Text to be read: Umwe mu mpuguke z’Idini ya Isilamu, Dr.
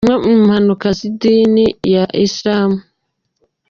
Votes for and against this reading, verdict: 0, 2, rejected